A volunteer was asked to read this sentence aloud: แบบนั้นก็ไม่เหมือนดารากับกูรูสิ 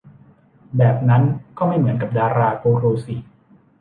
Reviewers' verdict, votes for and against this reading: rejected, 0, 2